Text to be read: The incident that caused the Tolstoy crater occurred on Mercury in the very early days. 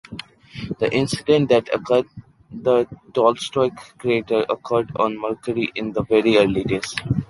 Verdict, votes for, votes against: rejected, 0, 2